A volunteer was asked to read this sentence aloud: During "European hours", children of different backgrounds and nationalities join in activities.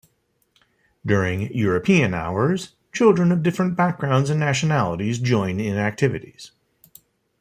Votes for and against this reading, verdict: 2, 0, accepted